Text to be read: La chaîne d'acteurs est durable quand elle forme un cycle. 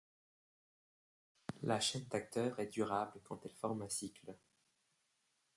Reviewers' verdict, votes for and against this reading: accepted, 2, 1